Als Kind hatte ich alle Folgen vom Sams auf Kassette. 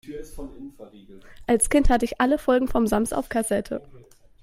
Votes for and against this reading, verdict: 2, 0, accepted